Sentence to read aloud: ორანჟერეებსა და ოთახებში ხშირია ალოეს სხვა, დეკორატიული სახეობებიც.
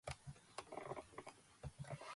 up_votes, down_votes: 0, 2